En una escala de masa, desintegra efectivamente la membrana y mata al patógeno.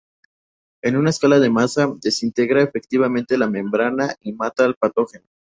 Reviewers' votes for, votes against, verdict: 2, 0, accepted